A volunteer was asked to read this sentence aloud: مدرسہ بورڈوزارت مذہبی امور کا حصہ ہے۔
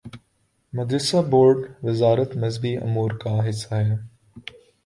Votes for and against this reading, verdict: 2, 1, accepted